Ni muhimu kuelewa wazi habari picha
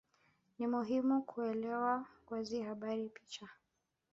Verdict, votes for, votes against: accepted, 3, 0